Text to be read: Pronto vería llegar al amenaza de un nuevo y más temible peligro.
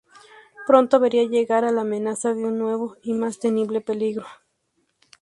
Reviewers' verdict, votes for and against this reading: accepted, 2, 0